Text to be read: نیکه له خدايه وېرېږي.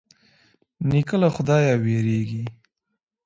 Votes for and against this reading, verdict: 2, 0, accepted